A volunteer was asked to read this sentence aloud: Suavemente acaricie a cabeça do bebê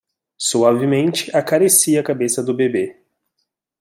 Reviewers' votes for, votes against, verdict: 2, 0, accepted